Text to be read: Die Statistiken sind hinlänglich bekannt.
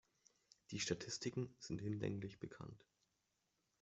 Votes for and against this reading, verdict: 1, 2, rejected